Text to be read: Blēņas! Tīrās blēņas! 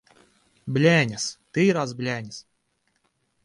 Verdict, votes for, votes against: accepted, 2, 1